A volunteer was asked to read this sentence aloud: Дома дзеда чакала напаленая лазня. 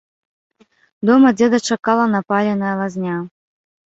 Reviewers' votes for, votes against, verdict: 1, 2, rejected